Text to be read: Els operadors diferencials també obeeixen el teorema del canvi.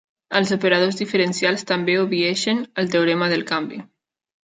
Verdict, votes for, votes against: rejected, 1, 2